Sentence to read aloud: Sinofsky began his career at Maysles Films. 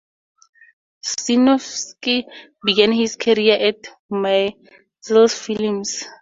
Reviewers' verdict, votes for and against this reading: rejected, 2, 2